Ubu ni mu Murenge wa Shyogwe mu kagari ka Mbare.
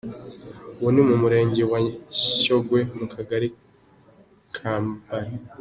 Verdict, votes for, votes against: rejected, 0, 2